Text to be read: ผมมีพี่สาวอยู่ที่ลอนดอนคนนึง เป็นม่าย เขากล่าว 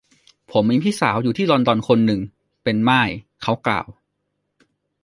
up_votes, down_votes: 1, 2